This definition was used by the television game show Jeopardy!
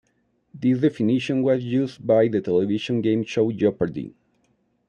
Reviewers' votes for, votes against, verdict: 2, 1, accepted